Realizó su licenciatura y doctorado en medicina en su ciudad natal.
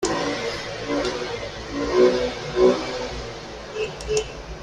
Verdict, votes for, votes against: rejected, 0, 2